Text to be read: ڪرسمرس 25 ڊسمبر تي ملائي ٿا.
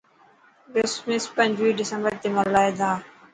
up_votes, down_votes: 0, 2